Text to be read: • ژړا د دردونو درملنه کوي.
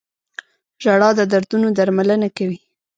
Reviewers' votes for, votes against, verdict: 1, 2, rejected